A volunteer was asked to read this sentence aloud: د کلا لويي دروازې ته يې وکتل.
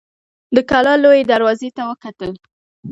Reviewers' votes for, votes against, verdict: 2, 0, accepted